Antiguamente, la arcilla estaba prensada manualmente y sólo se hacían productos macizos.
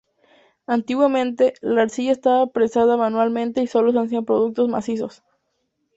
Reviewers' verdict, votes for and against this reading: accepted, 2, 0